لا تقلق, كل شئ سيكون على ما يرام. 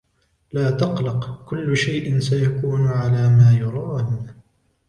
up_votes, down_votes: 2, 0